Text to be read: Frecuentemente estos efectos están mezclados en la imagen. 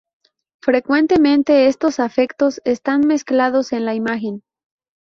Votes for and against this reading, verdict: 2, 2, rejected